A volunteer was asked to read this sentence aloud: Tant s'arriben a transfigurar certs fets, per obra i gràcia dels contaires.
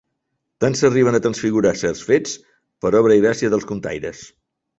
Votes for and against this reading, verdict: 5, 0, accepted